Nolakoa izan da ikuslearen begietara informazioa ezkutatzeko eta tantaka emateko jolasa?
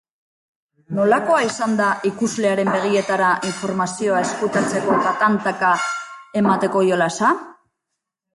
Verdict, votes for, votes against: accepted, 3, 0